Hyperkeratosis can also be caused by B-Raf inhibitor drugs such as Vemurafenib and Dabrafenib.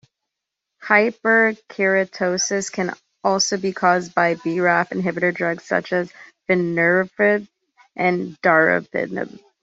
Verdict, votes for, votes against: rejected, 1, 2